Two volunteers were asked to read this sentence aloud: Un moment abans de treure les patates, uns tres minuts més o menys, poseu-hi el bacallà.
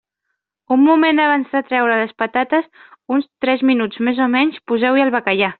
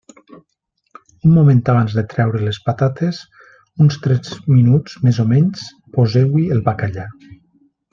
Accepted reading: second